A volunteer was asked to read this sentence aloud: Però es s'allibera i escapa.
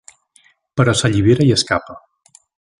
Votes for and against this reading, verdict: 1, 2, rejected